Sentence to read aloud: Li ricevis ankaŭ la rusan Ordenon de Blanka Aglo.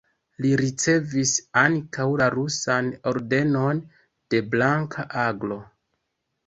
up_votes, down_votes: 2, 1